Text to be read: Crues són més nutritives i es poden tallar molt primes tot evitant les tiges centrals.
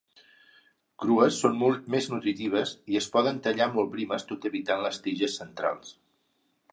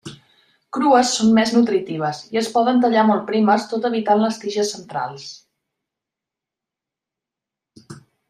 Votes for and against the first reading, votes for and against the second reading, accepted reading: 1, 2, 2, 0, second